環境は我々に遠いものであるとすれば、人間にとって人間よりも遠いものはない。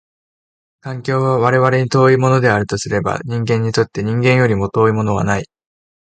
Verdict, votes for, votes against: accepted, 2, 0